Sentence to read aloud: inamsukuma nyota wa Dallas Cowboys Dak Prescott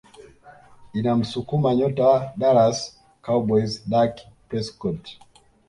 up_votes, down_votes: 2, 0